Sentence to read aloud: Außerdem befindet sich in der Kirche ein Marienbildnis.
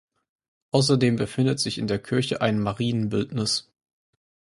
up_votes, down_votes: 4, 0